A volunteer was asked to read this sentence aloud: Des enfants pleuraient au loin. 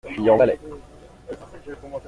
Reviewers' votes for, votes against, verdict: 0, 2, rejected